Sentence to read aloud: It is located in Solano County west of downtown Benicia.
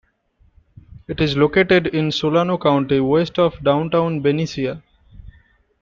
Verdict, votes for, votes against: accepted, 2, 1